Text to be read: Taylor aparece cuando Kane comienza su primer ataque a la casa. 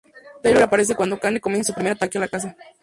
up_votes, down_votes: 0, 2